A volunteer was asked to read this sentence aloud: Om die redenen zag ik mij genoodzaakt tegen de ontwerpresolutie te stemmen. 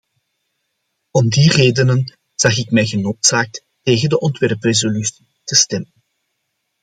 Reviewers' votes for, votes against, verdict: 2, 0, accepted